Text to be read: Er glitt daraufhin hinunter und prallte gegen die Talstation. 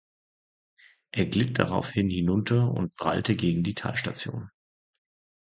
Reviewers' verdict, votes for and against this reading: accepted, 2, 0